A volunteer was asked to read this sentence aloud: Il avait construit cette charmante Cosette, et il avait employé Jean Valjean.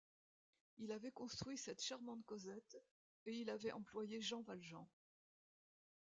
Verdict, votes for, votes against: rejected, 0, 2